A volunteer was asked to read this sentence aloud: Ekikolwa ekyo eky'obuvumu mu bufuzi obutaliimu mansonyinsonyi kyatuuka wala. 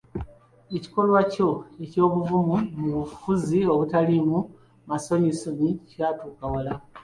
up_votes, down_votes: 3, 1